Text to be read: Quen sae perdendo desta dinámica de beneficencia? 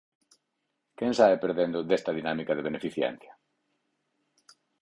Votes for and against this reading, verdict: 2, 4, rejected